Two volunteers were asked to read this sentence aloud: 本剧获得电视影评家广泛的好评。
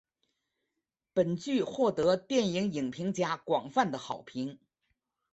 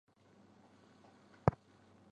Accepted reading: first